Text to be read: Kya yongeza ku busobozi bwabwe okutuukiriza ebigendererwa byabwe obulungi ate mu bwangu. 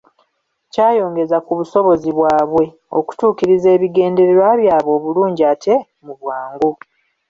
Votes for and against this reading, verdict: 2, 1, accepted